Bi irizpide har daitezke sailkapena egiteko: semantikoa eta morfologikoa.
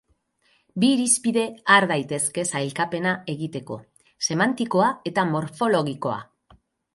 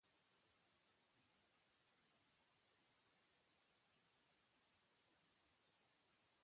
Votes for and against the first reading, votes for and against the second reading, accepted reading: 6, 0, 1, 4, first